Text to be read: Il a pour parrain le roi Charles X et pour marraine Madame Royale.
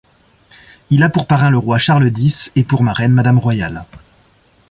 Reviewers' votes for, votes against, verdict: 2, 0, accepted